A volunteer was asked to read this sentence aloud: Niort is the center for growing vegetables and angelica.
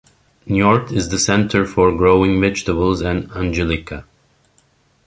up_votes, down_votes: 1, 2